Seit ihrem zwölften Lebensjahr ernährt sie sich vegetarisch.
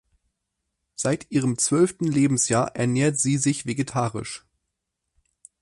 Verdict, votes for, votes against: accepted, 4, 0